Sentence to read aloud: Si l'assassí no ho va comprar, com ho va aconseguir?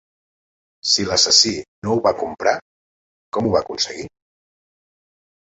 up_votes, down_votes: 3, 0